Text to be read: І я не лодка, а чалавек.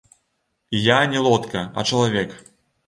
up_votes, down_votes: 0, 2